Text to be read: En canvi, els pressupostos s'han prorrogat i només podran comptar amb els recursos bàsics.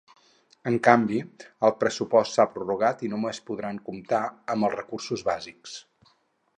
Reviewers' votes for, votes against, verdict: 0, 4, rejected